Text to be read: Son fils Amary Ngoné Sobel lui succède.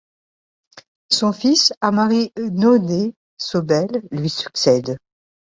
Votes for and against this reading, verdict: 1, 2, rejected